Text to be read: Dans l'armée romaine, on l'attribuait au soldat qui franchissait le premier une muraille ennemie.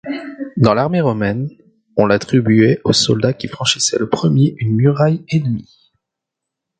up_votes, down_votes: 2, 0